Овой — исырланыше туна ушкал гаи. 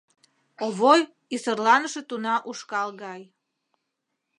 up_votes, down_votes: 0, 2